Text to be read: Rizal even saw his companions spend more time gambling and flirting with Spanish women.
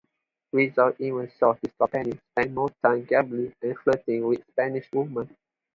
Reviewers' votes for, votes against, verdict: 2, 0, accepted